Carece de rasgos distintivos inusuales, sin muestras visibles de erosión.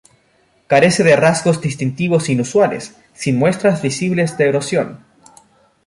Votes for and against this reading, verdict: 2, 0, accepted